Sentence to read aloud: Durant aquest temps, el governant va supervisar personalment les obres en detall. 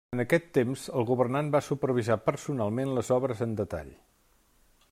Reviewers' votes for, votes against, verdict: 1, 2, rejected